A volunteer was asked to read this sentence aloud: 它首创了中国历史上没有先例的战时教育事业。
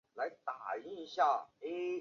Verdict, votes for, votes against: rejected, 0, 3